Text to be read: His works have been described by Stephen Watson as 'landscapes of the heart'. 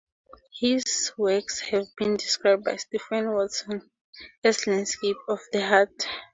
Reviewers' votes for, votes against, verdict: 2, 0, accepted